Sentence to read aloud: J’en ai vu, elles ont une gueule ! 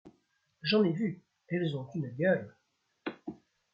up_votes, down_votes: 2, 0